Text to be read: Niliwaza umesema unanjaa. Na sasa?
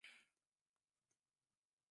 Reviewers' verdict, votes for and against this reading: rejected, 0, 2